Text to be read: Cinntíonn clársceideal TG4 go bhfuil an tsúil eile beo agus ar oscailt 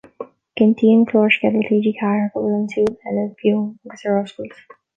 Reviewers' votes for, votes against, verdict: 0, 2, rejected